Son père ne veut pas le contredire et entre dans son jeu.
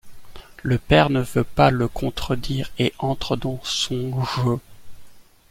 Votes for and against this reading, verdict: 1, 2, rejected